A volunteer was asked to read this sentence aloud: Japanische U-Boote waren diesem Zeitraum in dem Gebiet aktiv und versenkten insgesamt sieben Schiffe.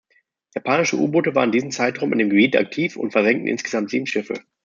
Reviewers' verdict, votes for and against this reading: rejected, 0, 2